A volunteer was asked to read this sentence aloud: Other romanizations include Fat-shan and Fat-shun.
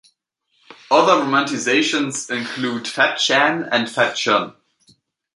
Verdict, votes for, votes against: rejected, 1, 2